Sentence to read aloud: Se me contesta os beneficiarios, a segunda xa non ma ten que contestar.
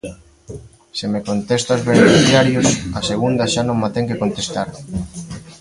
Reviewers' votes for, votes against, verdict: 0, 2, rejected